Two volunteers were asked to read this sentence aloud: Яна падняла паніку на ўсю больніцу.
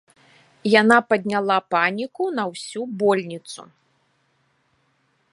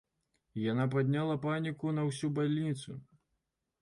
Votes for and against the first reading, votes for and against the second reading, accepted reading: 2, 0, 1, 2, first